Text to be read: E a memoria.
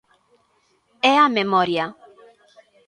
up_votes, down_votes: 0, 2